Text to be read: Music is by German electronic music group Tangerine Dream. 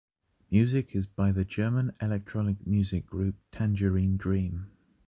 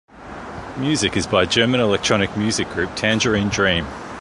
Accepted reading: second